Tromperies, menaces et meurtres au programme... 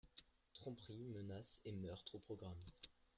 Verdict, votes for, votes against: rejected, 1, 2